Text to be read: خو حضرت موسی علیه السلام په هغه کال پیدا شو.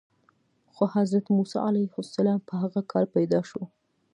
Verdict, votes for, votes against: accepted, 2, 0